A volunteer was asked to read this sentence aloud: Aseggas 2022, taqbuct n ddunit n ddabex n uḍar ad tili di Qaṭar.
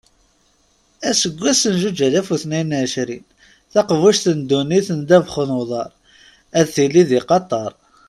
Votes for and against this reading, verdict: 0, 2, rejected